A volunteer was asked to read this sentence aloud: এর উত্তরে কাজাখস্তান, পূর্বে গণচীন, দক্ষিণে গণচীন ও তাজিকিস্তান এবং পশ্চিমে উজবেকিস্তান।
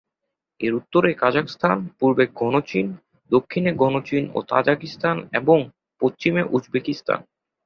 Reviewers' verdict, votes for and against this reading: accepted, 2, 0